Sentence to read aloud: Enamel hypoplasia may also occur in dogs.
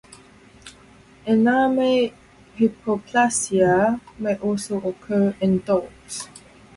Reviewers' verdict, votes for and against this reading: rejected, 2, 2